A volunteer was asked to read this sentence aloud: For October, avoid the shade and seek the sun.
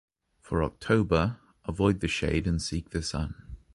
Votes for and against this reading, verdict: 3, 0, accepted